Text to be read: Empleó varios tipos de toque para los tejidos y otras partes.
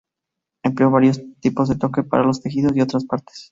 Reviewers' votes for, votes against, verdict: 2, 0, accepted